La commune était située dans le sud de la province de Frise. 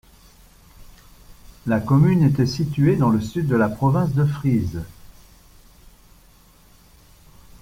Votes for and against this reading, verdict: 2, 0, accepted